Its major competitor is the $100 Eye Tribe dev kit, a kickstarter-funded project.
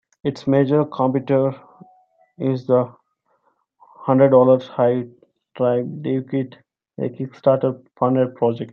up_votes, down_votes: 0, 2